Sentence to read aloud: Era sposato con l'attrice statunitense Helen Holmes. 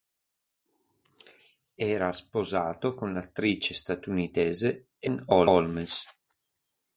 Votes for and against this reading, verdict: 1, 2, rejected